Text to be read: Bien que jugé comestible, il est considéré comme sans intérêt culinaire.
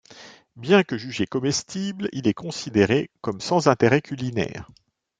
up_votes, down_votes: 2, 0